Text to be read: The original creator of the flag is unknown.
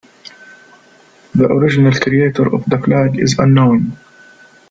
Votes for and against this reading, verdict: 2, 0, accepted